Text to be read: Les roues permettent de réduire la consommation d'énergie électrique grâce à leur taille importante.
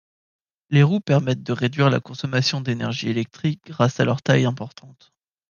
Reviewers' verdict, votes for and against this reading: accepted, 2, 0